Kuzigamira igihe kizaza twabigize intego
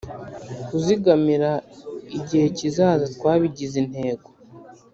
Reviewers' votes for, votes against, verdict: 3, 0, accepted